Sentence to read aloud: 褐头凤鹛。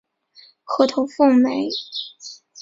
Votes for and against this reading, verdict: 2, 0, accepted